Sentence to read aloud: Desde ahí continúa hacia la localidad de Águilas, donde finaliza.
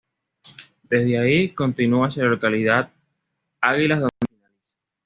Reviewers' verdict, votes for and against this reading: rejected, 1, 2